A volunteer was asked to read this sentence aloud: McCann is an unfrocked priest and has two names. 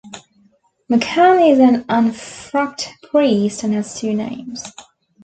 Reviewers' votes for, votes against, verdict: 1, 2, rejected